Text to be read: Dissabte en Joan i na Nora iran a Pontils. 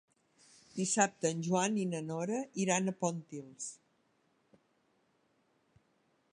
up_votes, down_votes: 2, 1